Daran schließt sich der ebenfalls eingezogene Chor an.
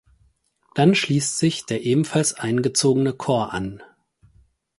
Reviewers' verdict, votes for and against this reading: rejected, 2, 4